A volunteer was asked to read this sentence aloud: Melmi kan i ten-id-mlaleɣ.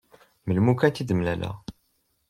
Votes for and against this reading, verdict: 1, 2, rejected